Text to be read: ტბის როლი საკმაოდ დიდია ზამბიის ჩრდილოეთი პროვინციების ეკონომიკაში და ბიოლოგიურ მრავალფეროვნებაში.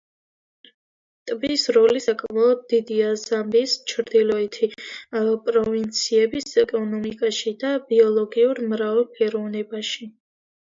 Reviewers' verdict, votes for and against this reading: accepted, 2, 1